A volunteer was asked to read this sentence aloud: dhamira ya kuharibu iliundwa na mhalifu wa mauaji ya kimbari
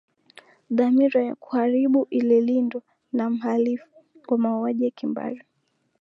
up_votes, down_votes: 5, 1